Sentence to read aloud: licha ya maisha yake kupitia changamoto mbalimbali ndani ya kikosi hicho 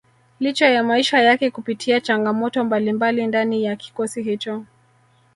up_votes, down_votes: 0, 2